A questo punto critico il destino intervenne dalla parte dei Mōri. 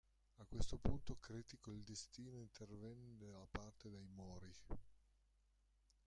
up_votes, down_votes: 0, 2